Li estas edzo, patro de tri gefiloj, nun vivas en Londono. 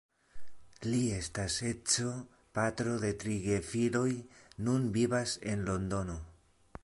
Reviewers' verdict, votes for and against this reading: accepted, 2, 0